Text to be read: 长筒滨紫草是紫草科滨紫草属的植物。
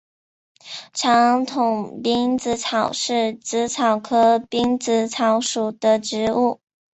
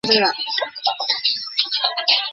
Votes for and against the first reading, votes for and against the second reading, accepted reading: 5, 0, 0, 3, first